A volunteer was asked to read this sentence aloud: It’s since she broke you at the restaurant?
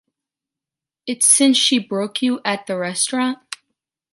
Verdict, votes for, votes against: accepted, 2, 0